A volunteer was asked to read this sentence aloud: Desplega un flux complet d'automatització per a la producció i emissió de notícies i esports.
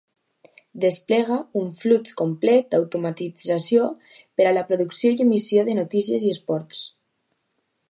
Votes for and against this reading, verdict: 2, 0, accepted